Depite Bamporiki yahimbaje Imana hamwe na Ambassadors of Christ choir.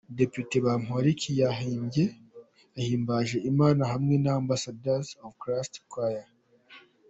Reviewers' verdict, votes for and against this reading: rejected, 0, 3